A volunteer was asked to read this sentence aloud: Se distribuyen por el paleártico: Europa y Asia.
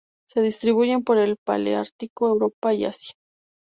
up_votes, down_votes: 2, 0